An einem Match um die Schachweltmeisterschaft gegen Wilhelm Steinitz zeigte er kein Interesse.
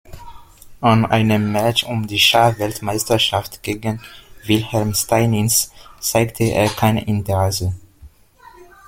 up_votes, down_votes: 2, 1